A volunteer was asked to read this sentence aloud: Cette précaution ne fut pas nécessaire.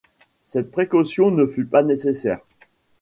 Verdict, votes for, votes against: accepted, 2, 0